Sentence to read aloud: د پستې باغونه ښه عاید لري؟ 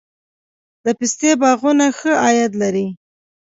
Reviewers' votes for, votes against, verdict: 2, 0, accepted